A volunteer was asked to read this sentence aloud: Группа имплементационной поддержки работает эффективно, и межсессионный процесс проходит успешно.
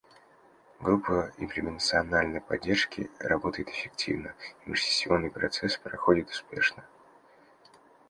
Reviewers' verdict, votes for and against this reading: rejected, 1, 2